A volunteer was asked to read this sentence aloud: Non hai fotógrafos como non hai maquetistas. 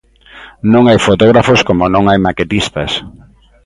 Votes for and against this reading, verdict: 2, 0, accepted